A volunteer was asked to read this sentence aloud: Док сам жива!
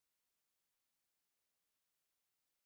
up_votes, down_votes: 0, 2